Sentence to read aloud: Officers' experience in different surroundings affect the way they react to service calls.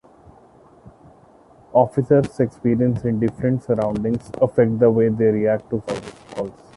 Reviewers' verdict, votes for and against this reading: accepted, 2, 0